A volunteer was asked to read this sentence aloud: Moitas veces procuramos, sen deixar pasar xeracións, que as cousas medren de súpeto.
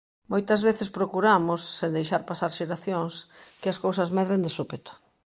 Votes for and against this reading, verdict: 2, 0, accepted